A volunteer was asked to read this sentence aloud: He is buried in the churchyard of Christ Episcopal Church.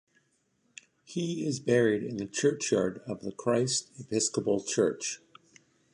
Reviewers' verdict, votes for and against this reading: accepted, 2, 1